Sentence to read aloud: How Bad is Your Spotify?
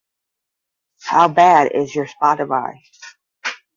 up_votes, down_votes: 5, 5